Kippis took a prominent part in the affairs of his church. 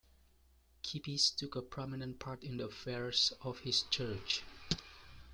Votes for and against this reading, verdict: 1, 2, rejected